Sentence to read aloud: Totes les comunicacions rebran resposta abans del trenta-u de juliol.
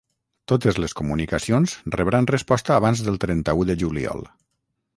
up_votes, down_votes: 6, 0